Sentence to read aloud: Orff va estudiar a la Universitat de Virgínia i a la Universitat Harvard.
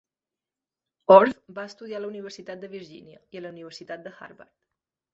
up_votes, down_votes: 1, 2